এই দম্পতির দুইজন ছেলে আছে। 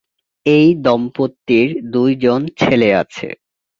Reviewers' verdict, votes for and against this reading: accepted, 2, 0